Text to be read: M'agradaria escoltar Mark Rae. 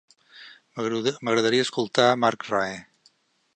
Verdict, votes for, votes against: rejected, 0, 2